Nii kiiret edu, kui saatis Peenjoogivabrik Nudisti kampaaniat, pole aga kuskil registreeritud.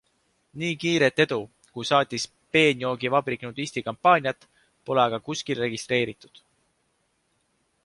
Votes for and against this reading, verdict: 2, 0, accepted